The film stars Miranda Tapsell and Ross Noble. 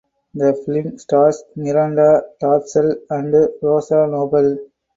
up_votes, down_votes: 0, 2